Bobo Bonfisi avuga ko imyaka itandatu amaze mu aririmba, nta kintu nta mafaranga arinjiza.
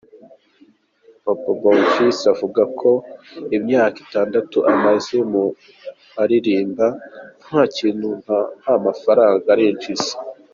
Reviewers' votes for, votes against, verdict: 1, 2, rejected